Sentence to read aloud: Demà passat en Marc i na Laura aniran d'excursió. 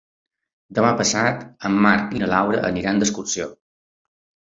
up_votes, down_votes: 3, 0